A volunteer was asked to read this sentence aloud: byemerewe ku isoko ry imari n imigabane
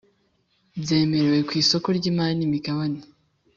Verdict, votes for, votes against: accepted, 3, 0